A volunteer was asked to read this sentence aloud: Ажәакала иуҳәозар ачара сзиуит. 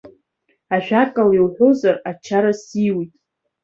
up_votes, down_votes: 2, 0